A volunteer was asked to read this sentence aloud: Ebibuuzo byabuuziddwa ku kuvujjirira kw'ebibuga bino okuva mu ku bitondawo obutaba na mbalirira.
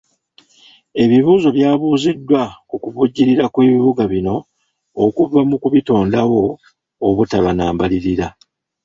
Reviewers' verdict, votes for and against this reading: accepted, 2, 1